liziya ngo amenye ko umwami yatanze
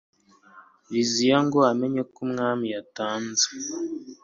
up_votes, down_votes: 2, 0